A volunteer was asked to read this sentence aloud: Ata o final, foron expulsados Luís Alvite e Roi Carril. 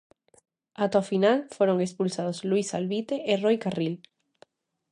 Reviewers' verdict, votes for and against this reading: accepted, 2, 0